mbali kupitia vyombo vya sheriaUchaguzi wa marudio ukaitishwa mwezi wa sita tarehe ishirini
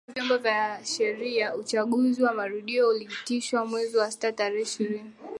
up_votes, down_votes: 3, 0